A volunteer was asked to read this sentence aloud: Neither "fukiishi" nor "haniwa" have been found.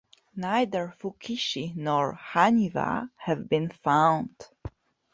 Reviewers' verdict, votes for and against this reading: accepted, 2, 0